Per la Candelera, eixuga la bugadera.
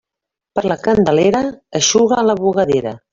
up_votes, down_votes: 1, 2